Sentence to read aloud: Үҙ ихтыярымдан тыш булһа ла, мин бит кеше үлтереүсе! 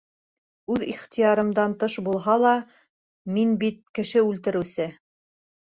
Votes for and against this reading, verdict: 3, 0, accepted